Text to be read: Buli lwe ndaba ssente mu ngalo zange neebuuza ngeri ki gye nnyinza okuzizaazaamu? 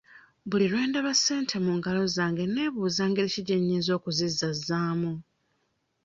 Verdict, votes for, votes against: rejected, 1, 2